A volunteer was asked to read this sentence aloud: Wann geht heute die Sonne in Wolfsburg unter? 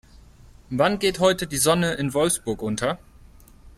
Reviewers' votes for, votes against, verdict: 4, 0, accepted